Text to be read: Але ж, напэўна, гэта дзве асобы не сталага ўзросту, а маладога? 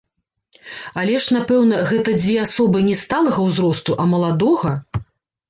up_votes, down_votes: 2, 0